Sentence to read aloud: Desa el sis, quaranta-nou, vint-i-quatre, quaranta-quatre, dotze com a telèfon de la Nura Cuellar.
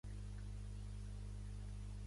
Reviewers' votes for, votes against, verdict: 1, 2, rejected